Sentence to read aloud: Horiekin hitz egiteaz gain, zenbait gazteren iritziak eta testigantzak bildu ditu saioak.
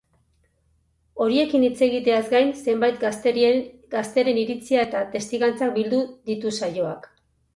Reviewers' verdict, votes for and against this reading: rejected, 2, 8